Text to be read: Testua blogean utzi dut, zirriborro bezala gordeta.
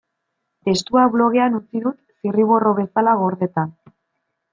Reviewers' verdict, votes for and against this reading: accepted, 2, 0